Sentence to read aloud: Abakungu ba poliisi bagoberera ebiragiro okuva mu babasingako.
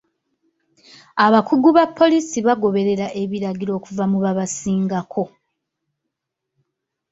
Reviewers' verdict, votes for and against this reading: rejected, 1, 2